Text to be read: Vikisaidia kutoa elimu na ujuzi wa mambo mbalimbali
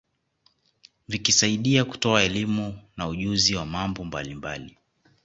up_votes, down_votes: 1, 2